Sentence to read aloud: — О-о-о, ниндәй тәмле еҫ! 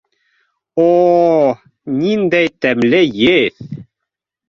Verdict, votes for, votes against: accepted, 2, 0